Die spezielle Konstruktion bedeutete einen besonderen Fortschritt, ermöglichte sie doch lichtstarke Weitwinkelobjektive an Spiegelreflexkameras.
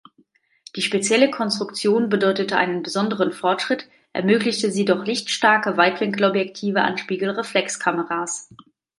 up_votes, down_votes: 2, 1